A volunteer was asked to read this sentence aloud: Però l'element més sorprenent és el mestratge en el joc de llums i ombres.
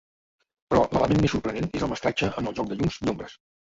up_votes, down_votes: 1, 2